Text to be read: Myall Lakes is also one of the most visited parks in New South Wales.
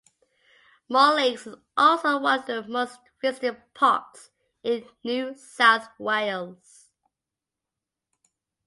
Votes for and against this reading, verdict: 0, 2, rejected